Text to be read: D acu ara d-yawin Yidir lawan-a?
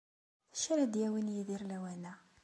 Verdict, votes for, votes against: accepted, 2, 0